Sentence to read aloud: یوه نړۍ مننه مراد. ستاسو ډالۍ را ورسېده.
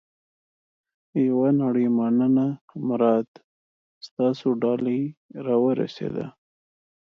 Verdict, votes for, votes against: accepted, 2, 0